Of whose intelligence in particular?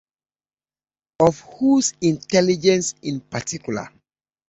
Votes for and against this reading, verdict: 2, 1, accepted